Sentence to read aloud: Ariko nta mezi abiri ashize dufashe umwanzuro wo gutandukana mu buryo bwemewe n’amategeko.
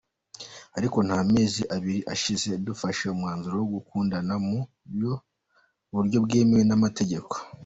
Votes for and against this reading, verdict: 0, 2, rejected